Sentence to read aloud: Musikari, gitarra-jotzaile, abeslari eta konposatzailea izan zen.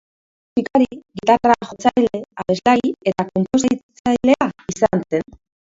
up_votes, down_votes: 0, 3